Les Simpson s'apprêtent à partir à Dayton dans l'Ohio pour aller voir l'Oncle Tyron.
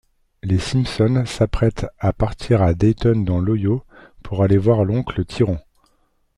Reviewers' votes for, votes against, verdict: 0, 2, rejected